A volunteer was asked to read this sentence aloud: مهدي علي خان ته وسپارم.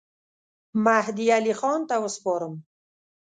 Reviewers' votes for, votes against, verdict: 2, 0, accepted